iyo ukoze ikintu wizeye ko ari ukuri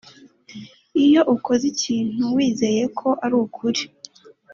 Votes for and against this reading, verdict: 2, 0, accepted